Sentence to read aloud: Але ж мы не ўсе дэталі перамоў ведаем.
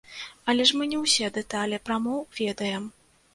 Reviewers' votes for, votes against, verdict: 1, 2, rejected